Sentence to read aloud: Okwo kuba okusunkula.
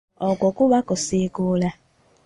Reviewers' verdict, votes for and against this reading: rejected, 0, 2